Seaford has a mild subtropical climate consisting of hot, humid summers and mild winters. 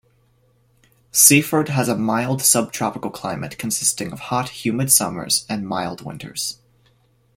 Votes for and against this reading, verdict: 2, 0, accepted